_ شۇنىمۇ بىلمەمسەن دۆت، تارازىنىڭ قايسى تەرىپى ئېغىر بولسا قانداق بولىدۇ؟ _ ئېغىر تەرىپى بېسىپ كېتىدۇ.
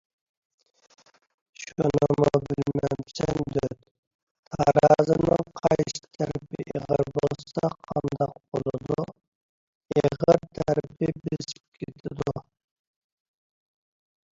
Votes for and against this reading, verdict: 2, 1, accepted